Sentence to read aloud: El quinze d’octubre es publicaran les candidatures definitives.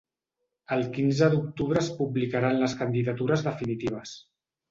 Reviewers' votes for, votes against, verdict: 2, 0, accepted